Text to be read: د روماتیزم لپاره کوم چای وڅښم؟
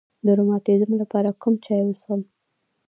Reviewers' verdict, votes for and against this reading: accepted, 2, 1